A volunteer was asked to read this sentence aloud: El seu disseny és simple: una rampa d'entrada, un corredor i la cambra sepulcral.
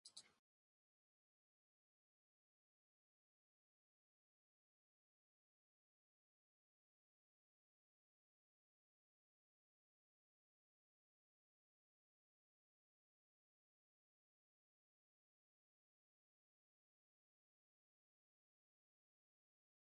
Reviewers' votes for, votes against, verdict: 0, 2, rejected